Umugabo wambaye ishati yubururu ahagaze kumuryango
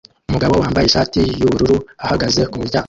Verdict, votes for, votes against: rejected, 0, 2